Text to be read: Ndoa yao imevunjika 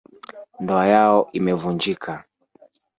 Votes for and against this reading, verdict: 0, 2, rejected